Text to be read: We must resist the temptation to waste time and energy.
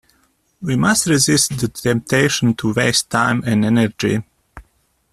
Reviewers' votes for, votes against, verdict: 2, 1, accepted